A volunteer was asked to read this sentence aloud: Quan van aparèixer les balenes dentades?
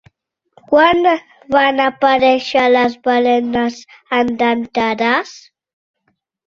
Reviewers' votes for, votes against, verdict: 0, 2, rejected